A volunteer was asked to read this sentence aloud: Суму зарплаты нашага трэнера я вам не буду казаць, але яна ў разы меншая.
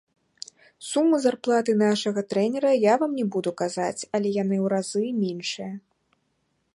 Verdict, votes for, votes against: rejected, 0, 2